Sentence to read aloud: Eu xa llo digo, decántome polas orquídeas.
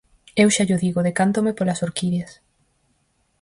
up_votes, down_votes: 4, 0